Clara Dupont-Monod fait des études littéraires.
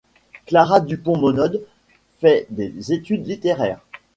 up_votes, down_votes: 1, 2